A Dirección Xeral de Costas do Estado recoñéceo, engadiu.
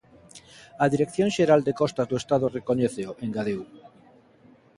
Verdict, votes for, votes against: accepted, 2, 0